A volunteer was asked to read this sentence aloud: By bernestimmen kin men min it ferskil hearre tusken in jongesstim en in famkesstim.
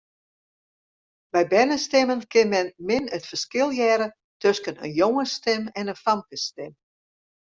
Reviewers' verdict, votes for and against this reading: accepted, 2, 0